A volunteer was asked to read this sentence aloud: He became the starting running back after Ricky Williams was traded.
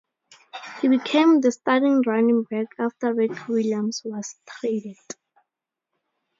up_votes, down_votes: 0, 2